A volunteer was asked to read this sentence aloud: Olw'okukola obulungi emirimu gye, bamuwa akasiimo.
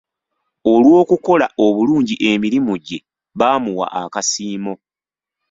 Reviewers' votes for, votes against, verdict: 1, 2, rejected